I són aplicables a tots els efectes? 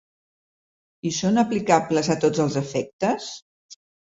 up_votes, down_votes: 2, 0